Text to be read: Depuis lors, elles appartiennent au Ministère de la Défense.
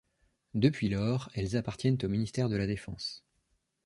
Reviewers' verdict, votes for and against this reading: rejected, 1, 2